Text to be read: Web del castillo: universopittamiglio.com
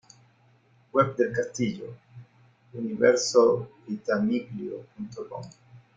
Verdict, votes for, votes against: accepted, 3, 0